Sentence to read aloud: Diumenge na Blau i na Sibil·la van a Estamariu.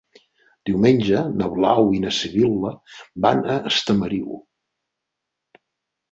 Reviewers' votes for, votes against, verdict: 4, 0, accepted